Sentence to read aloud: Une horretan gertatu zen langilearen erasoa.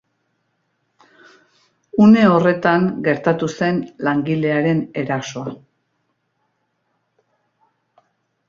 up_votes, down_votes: 2, 0